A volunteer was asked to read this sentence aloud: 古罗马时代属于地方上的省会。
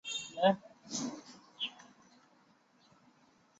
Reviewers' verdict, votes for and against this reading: rejected, 0, 2